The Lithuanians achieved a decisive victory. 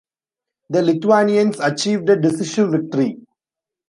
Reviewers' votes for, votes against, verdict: 0, 2, rejected